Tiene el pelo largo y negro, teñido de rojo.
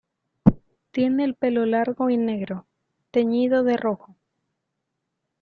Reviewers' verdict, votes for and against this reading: accepted, 2, 0